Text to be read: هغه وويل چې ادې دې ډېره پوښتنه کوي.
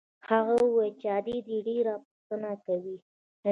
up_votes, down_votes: 1, 2